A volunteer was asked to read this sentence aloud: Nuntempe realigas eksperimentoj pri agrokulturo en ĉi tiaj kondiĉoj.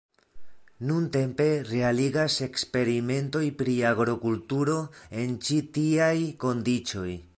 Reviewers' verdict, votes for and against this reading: accepted, 2, 1